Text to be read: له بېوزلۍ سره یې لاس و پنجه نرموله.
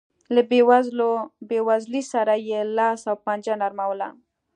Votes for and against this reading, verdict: 0, 2, rejected